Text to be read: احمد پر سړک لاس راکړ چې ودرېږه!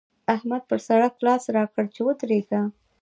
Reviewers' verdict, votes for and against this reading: accepted, 2, 0